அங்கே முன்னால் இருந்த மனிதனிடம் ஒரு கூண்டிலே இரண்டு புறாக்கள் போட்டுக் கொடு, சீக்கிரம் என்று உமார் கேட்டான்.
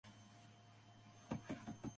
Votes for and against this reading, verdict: 0, 2, rejected